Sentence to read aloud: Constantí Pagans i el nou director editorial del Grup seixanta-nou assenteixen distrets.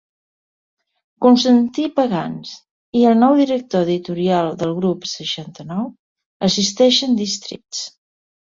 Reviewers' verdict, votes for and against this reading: rejected, 0, 2